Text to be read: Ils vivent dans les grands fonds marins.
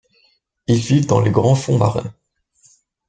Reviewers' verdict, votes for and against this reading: accepted, 2, 0